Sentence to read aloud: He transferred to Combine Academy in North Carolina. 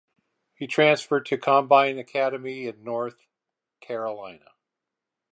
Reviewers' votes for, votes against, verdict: 4, 0, accepted